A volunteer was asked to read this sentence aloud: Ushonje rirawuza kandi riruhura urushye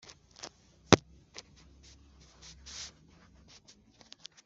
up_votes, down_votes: 0, 2